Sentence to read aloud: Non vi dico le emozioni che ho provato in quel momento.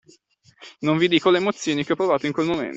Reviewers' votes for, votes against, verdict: 1, 2, rejected